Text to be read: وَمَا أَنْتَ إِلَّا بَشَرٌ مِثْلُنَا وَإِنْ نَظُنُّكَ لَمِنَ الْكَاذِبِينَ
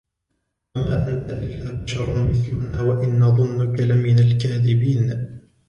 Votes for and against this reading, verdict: 1, 2, rejected